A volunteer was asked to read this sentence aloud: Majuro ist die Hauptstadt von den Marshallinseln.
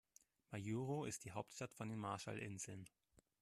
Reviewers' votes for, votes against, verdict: 1, 2, rejected